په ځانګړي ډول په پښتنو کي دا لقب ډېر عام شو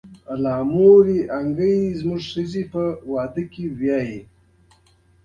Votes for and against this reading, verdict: 1, 2, rejected